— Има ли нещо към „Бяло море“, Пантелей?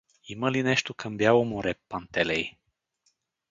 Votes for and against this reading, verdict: 0, 2, rejected